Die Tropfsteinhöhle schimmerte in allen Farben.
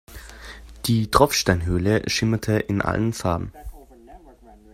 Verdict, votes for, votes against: accepted, 2, 0